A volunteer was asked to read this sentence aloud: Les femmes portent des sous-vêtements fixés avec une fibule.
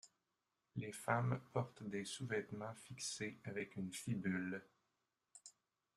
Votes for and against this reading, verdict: 1, 2, rejected